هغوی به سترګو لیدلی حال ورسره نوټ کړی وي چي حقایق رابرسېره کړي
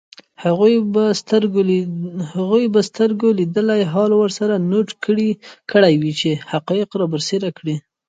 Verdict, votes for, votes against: accepted, 2, 1